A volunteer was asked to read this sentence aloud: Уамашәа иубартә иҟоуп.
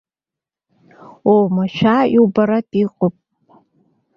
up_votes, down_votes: 2, 1